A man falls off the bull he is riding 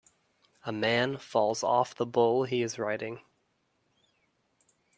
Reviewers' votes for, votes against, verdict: 3, 0, accepted